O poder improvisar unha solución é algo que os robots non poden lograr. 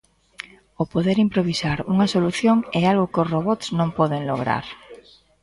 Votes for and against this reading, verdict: 2, 0, accepted